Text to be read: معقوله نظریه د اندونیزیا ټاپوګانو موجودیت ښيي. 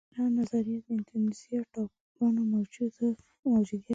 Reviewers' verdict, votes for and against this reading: rejected, 1, 3